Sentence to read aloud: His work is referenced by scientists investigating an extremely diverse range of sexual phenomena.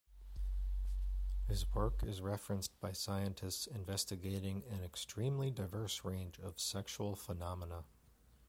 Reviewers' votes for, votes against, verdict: 2, 1, accepted